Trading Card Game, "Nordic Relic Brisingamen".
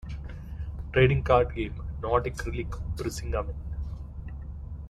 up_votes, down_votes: 2, 0